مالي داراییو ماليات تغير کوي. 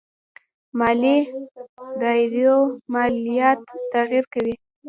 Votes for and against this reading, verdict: 2, 1, accepted